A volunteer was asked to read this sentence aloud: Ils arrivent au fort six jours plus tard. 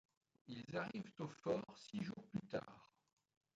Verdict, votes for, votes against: accepted, 2, 0